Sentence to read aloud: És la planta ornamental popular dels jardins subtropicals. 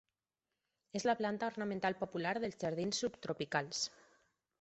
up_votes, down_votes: 6, 0